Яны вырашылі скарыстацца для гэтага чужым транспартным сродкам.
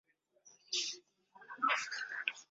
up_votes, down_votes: 0, 2